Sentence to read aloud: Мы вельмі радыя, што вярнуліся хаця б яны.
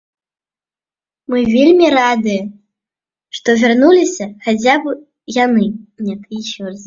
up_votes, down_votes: 1, 2